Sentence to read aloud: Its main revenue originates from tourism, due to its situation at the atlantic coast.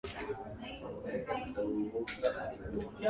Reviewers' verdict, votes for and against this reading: rejected, 0, 2